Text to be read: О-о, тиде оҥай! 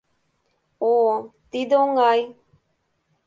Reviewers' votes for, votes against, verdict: 2, 0, accepted